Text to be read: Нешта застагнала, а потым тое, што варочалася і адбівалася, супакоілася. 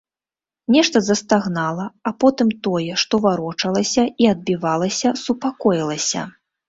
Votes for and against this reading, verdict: 2, 0, accepted